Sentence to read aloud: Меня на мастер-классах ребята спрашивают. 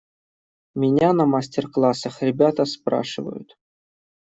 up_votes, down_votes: 2, 0